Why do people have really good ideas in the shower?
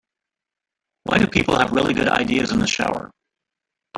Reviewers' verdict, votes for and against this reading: rejected, 1, 2